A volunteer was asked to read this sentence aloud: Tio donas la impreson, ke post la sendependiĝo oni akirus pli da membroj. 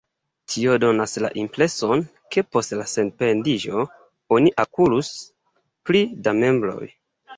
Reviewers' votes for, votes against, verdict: 2, 1, accepted